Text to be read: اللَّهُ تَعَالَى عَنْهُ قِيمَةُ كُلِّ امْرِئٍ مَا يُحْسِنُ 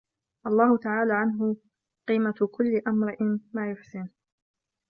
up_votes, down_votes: 0, 2